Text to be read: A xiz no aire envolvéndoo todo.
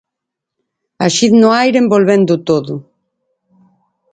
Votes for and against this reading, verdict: 8, 6, accepted